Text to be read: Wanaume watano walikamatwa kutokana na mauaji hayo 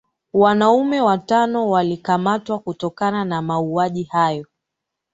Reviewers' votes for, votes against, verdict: 3, 0, accepted